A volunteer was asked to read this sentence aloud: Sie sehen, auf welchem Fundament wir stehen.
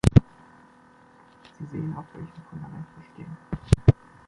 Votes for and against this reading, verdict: 1, 2, rejected